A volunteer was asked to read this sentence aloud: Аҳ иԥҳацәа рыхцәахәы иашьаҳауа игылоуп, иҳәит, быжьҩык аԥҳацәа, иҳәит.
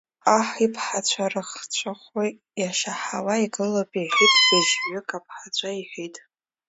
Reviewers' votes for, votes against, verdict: 1, 2, rejected